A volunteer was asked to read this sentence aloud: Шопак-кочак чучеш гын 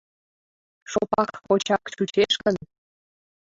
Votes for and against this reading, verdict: 2, 0, accepted